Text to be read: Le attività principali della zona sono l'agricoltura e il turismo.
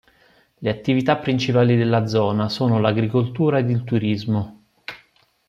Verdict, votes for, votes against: rejected, 1, 2